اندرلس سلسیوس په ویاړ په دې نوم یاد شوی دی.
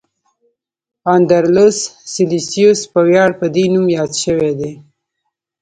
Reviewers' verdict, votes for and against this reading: rejected, 1, 3